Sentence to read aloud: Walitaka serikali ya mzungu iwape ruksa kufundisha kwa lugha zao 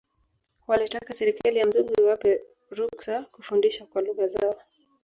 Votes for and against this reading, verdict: 2, 3, rejected